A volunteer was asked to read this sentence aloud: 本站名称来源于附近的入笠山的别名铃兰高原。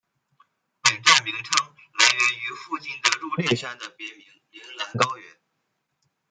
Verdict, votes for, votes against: accepted, 2, 0